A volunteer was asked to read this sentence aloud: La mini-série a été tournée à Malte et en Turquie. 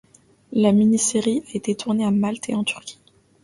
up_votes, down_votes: 2, 0